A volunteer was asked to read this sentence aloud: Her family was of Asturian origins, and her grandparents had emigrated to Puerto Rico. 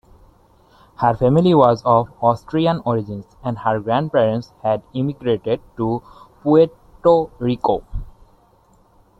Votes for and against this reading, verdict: 0, 2, rejected